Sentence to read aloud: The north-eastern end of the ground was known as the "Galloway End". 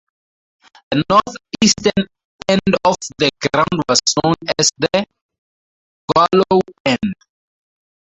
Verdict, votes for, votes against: rejected, 0, 4